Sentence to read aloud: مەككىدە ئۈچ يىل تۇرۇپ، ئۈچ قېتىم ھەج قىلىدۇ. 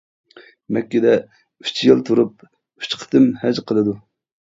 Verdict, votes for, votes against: accepted, 2, 0